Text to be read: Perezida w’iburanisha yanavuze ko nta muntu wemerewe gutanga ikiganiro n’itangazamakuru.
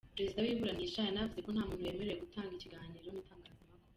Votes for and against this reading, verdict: 0, 2, rejected